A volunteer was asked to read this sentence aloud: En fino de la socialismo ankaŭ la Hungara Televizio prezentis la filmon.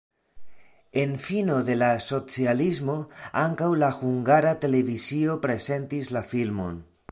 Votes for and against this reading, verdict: 2, 0, accepted